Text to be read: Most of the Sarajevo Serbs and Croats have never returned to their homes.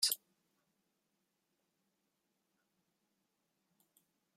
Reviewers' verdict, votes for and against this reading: rejected, 0, 2